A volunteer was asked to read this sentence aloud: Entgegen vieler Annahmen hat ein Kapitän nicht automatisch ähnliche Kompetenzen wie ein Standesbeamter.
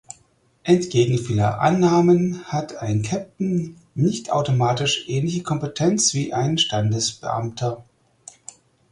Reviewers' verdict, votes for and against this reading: rejected, 0, 4